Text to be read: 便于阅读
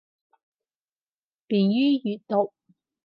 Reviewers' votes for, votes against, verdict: 4, 0, accepted